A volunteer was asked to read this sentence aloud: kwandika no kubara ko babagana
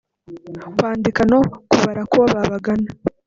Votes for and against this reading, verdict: 1, 2, rejected